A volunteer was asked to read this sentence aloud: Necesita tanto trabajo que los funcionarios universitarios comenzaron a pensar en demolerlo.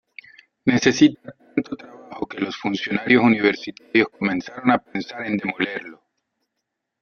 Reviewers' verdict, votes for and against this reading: rejected, 0, 2